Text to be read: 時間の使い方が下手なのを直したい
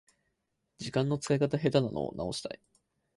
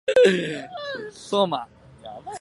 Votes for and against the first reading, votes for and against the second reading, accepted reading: 6, 0, 0, 8, first